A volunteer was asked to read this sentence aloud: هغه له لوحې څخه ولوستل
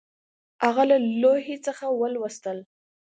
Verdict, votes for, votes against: accepted, 2, 0